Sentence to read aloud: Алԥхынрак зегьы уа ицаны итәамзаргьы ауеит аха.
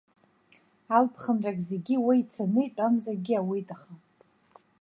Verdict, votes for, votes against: accepted, 2, 0